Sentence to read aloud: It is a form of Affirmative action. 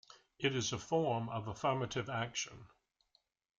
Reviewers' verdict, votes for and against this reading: accepted, 2, 0